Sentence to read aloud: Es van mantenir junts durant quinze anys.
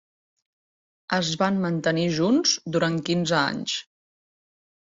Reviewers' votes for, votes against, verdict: 3, 0, accepted